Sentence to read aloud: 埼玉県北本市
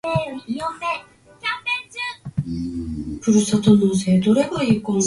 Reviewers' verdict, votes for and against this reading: rejected, 0, 4